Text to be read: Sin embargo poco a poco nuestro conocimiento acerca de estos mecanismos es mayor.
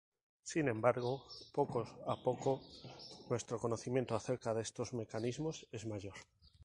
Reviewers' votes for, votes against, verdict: 2, 0, accepted